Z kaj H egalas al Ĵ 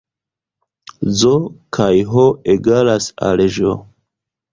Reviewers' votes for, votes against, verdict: 2, 1, accepted